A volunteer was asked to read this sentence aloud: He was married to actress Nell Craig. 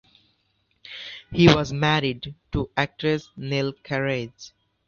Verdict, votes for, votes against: rejected, 0, 2